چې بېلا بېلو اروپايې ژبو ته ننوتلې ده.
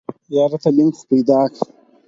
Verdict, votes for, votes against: rejected, 2, 6